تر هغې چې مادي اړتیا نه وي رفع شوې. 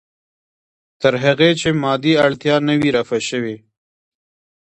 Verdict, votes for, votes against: accepted, 2, 0